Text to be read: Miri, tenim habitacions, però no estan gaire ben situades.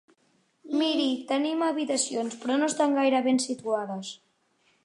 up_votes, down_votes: 3, 0